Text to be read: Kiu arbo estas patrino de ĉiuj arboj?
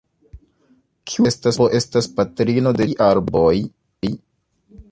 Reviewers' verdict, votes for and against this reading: rejected, 1, 2